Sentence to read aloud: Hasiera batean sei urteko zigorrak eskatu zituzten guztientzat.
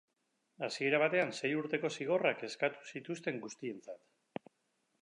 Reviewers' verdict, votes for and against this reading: accepted, 2, 0